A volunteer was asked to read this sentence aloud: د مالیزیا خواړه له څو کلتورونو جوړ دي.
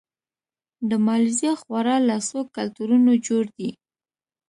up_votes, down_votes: 2, 0